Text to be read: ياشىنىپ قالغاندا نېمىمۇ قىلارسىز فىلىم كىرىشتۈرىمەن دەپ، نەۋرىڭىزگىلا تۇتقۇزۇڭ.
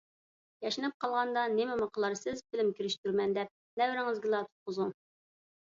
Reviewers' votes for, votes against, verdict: 2, 0, accepted